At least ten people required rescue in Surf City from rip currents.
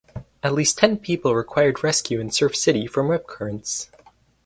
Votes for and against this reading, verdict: 4, 0, accepted